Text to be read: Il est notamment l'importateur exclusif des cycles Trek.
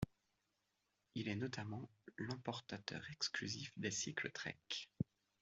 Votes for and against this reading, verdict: 2, 0, accepted